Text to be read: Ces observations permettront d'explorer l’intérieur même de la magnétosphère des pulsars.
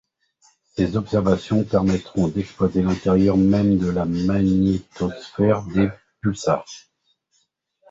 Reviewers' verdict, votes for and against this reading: rejected, 0, 2